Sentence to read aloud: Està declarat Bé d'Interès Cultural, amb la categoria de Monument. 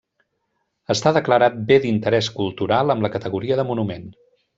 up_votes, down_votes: 3, 0